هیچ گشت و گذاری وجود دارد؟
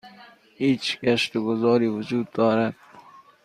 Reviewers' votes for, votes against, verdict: 2, 0, accepted